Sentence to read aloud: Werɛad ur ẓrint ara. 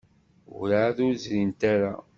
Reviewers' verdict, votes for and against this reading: rejected, 1, 2